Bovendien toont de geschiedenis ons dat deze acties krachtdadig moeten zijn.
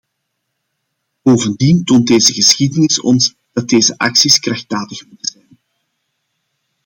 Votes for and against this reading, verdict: 0, 2, rejected